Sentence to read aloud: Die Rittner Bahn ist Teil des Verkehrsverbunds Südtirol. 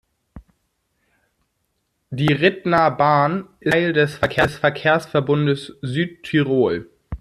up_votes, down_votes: 0, 2